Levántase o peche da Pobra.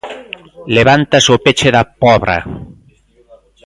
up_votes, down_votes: 1, 2